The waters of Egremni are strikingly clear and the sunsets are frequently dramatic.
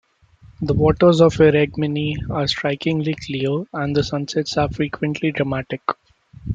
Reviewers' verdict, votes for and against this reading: rejected, 0, 2